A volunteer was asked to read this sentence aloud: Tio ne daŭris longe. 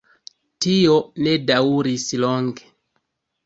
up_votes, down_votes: 2, 1